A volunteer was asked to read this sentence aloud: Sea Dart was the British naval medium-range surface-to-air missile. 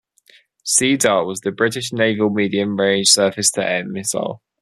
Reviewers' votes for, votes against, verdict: 2, 0, accepted